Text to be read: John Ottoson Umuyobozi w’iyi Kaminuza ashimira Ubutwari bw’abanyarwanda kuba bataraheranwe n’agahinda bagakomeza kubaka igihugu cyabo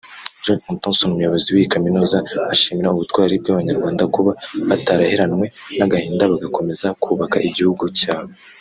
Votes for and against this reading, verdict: 1, 2, rejected